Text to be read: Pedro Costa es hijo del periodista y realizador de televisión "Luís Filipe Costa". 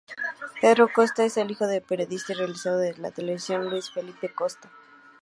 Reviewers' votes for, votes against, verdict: 0, 2, rejected